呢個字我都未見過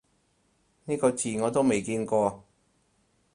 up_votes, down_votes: 4, 0